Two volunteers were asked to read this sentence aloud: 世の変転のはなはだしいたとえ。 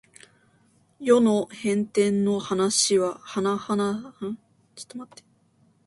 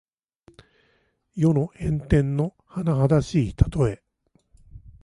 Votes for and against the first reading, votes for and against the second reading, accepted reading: 0, 2, 2, 0, second